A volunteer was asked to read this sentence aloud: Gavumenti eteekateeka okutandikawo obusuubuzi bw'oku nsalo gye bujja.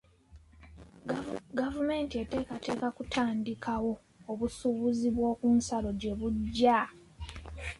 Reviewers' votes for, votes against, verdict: 1, 2, rejected